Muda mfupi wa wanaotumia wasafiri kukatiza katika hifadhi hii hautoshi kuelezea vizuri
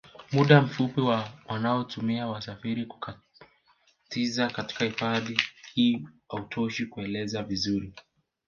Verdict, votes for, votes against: rejected, 0, 2